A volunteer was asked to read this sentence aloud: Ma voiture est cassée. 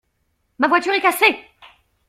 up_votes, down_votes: 2, 0